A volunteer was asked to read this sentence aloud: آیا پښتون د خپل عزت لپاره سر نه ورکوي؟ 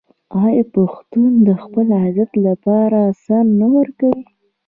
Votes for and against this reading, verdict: 1, 2, rejected